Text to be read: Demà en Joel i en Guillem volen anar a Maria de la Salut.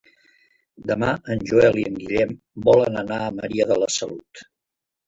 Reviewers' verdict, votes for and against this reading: rejected, 1, 3